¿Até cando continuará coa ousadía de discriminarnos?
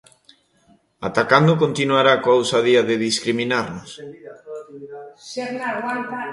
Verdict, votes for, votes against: rejected, 0, 2